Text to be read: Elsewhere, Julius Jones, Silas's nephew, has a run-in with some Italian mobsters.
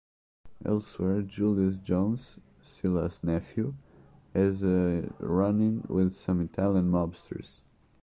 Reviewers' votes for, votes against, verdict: 2, 0, accepted